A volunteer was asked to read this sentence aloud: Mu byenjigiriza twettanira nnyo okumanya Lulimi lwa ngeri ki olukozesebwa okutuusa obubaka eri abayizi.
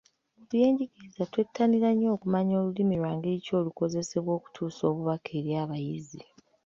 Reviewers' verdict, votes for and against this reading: rejected, 1, 2